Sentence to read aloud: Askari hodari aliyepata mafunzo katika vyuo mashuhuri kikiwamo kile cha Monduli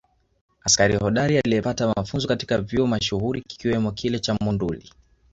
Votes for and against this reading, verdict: 2, 0, accepted